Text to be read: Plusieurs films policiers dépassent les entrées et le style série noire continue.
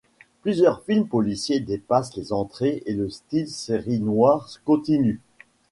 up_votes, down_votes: 1, 2